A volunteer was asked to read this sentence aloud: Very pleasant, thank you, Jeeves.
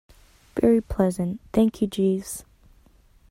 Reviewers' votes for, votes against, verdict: 2, 0, accepted